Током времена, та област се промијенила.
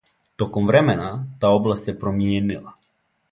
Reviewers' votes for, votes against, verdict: 2, 0, accepted